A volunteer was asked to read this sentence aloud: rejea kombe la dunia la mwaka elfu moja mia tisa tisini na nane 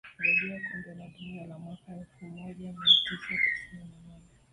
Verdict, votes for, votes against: accepted, 2, 1